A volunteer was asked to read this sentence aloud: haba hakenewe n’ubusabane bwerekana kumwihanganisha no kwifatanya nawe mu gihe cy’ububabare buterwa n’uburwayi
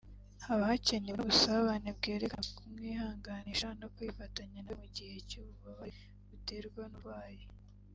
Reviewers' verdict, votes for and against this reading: accepted, 2, 0